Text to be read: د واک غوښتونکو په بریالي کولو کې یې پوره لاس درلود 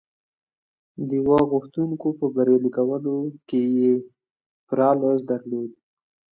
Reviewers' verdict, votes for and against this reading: accepted, 2, 0